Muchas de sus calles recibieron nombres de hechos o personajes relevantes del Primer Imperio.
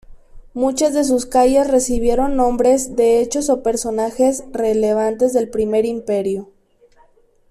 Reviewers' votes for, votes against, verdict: 1, 2, rejected